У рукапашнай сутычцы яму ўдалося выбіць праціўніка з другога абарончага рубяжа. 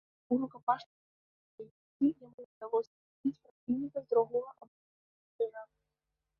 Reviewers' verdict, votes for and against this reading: rejected, 0, 2